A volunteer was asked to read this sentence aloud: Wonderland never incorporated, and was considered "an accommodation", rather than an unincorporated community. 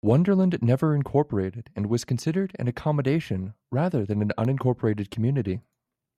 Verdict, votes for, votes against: rejected, 1, 2